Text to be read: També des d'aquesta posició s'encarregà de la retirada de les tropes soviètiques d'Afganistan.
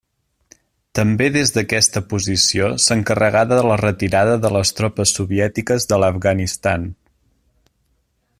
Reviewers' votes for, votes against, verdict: 1, 2, rejected